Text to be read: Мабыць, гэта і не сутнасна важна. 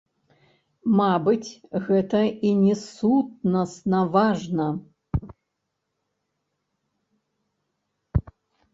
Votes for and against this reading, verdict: 1, 2, rejected